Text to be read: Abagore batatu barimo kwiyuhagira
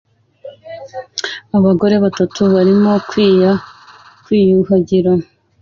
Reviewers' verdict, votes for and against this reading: rejected, 1, 2